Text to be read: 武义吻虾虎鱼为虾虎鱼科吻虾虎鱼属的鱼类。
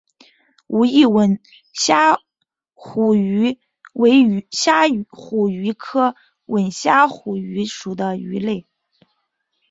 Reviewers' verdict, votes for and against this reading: accepted, 2, 0